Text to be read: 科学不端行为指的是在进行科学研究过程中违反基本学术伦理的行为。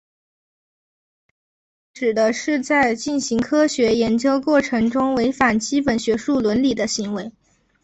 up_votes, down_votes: 1, 2